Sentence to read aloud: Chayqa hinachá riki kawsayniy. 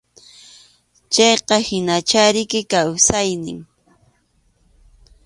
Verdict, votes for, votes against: accepted, 2, 0